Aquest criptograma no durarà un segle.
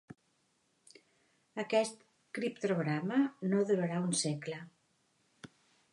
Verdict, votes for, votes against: rejected, 1, 2